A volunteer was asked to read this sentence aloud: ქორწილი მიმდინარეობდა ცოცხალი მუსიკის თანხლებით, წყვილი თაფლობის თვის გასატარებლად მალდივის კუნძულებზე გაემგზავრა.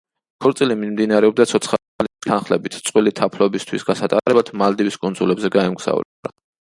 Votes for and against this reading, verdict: 0, 2, rejected